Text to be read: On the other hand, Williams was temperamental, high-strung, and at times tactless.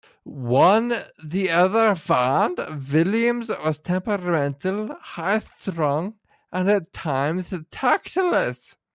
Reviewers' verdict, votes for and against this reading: rejected, 0, 2